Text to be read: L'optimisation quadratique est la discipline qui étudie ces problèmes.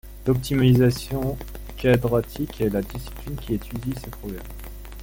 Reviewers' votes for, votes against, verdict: 2, 1, accepted